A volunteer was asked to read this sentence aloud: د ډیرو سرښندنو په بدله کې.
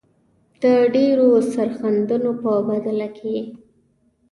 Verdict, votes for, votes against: rejected, 1, 2